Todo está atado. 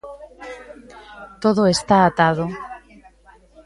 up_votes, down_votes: 1, 2